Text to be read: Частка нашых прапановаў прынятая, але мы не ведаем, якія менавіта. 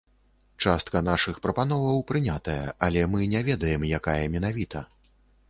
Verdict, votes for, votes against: rejected, 0, 2